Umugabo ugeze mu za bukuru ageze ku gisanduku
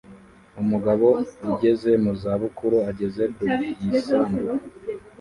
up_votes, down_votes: 1, 2